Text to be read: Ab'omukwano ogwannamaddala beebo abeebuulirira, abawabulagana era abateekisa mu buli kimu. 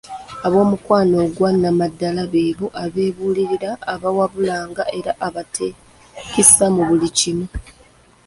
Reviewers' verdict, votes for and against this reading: rejected, 1, 2